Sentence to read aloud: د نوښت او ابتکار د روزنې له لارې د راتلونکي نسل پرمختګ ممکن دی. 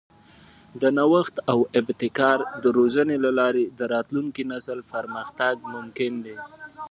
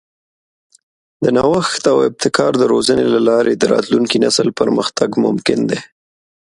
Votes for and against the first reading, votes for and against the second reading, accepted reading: 1, 2, 2, 0, second